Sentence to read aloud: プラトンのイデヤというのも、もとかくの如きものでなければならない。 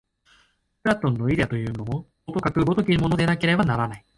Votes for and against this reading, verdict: 1, 2, rejected